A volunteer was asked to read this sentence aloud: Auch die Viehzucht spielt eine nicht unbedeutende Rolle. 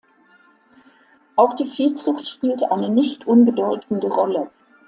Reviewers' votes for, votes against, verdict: 2, 0, accepted